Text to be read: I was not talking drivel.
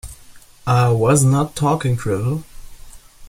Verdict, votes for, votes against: accepted, 2, 0